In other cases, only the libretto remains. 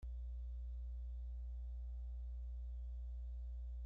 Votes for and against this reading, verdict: 0, 2, rejected